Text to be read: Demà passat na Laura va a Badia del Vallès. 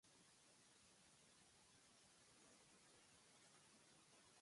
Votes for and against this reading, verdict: 0, 2, rejected